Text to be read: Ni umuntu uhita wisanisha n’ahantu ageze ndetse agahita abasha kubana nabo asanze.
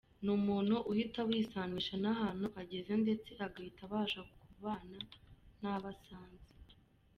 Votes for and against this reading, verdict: 2, 0, accepted